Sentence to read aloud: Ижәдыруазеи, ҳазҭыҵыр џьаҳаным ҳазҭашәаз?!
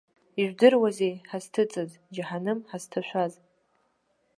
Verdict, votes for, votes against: rejected, 0, 2